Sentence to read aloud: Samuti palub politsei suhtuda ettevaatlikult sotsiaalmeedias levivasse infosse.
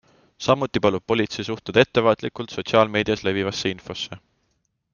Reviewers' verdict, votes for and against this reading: accepted, 2, 0